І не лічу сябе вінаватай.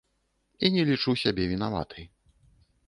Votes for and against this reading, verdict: 2, 0, accepted